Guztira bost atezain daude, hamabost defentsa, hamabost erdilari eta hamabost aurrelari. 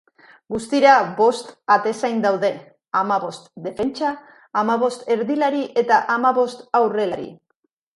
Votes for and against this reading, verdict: 2, 0, accepted